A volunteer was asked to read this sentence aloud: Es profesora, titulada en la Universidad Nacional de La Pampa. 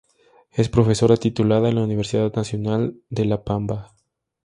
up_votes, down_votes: 0, 2